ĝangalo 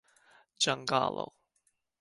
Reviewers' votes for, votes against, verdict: 2, 1, accepted